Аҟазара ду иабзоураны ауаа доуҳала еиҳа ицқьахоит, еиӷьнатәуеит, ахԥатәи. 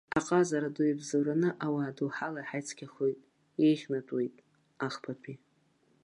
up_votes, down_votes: 2, 0